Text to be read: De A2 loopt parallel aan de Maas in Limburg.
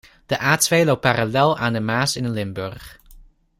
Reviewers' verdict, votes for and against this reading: rejected, 0, 2